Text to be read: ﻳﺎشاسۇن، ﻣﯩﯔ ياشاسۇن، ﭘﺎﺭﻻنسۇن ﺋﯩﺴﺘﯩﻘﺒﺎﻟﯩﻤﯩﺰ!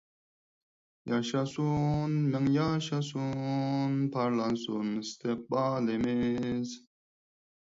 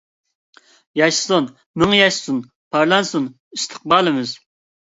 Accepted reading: second